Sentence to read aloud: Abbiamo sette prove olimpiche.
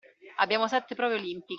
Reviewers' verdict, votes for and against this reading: rejected, 0, 2